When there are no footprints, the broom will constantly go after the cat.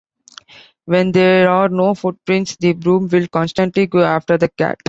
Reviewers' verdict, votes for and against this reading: accepted, 2, 0